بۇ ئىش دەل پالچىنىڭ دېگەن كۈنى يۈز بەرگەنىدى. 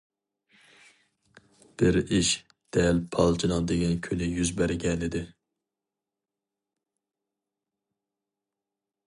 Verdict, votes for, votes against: rejected, 0, 2